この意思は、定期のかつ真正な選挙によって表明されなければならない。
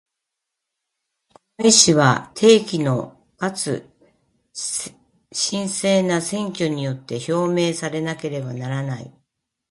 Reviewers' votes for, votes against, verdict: 2, 1, accepted